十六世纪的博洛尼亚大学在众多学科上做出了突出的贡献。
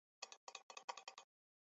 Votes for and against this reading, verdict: 0, 2, rejected